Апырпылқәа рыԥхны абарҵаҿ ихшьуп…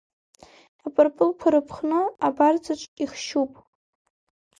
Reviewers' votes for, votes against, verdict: 2, 0, accepted